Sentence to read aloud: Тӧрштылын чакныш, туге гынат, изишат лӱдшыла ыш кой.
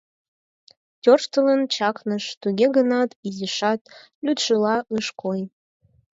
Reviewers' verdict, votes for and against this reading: accepted, 4, 0